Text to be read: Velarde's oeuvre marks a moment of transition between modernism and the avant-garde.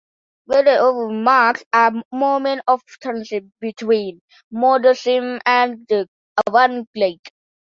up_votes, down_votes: 0, 2